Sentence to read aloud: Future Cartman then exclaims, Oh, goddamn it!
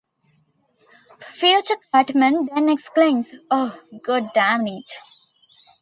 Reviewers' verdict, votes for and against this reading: accepted, 2, 1